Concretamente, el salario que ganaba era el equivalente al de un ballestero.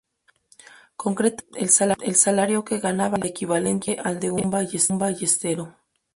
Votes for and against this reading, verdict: 2, 4, rejected